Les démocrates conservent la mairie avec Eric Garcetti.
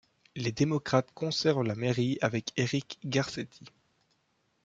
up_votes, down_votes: 2, 0